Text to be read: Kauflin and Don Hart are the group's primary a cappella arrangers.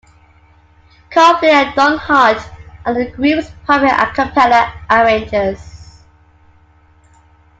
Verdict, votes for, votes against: rejected, 1, 2